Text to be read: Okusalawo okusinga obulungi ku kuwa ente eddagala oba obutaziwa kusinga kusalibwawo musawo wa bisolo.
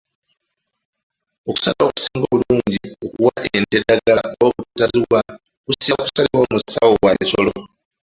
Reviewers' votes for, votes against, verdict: 2, 1, accepted